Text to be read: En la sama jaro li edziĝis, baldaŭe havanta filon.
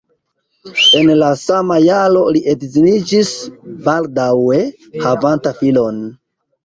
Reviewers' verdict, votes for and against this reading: rejected, 0, 2